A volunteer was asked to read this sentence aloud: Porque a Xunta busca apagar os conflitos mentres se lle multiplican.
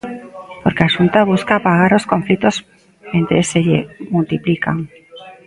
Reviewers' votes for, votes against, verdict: 1, 2, rejected